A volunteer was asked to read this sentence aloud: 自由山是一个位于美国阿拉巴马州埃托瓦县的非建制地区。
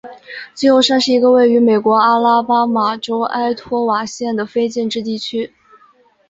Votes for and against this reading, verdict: 4, 0, accepted